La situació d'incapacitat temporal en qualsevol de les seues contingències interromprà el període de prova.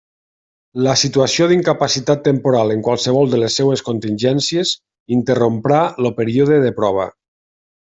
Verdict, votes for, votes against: rejected, 0, 2